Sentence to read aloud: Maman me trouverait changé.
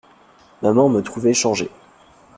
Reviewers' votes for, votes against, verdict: 2, 1, accepted